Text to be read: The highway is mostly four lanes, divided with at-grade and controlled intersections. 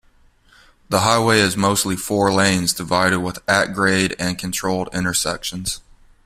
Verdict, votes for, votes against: accepted, 2, 0